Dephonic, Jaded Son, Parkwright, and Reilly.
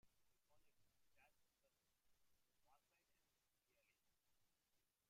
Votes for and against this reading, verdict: 0, 3, rejected